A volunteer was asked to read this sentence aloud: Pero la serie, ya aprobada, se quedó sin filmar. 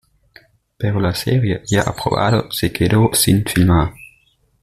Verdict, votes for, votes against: accepted, 2, 0